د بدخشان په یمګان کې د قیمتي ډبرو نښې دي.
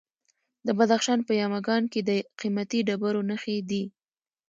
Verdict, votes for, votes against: accepted, 2, 0